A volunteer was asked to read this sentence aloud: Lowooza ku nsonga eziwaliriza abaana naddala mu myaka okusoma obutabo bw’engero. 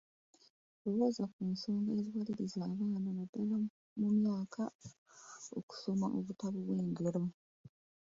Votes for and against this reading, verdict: 2, 0, accepted